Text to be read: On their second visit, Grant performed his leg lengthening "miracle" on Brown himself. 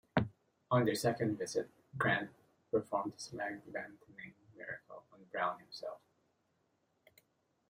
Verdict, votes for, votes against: rejected, 0, 2